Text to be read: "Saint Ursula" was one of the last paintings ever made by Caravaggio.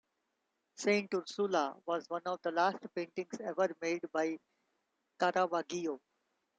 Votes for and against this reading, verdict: 0, 2, rejected